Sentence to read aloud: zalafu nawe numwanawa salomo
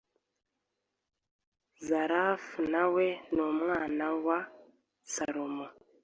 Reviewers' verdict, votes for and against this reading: accepted, 2, 0